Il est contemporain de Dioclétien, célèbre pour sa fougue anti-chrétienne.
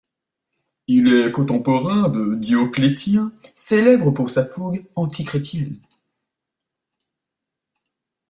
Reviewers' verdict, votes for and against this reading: accepted, 2, 1